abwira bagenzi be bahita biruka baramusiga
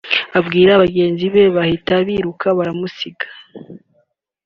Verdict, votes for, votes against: accepted, 2, 0